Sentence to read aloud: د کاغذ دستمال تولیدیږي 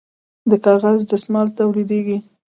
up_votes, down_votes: 2, 0